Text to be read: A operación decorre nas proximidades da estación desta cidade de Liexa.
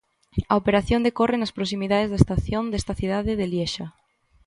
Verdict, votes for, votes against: accepted, 2, 0